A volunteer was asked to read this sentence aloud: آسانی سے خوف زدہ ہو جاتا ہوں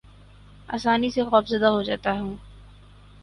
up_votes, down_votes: 4, 0